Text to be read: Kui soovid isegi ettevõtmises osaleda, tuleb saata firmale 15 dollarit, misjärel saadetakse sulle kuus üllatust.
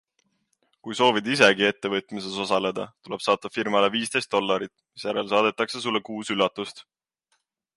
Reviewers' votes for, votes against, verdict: 0, 2, rejected